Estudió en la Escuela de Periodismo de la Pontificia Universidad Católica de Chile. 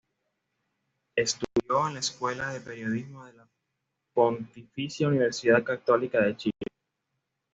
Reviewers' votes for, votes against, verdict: 1, 2, rejected